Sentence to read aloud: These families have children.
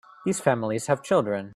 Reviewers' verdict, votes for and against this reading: accepted, 2, 0